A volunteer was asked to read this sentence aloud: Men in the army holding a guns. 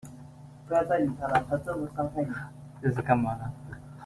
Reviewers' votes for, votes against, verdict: 0, 2, rejected